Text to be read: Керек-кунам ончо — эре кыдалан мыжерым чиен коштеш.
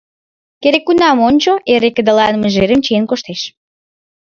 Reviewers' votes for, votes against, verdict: 2, 0, accepted